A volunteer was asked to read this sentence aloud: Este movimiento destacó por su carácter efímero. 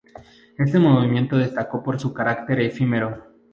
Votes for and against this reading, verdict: 4, 0, accepted